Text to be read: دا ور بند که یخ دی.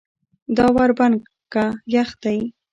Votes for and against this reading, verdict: 2, 0, accepted